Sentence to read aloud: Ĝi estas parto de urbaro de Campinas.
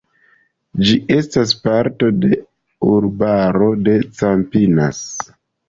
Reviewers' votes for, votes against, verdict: 2, 0, accepted